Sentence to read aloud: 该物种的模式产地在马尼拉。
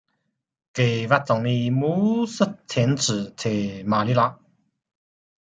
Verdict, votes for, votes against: accepted, 2, 1